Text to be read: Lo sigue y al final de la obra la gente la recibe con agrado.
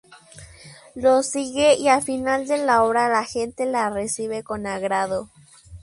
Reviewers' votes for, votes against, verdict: 2, 0, accepted